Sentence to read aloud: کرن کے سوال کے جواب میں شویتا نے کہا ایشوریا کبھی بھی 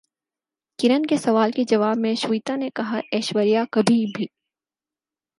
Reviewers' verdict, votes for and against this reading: accepted, 4, 0